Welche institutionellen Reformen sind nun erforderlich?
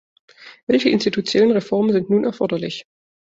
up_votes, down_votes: 1, 2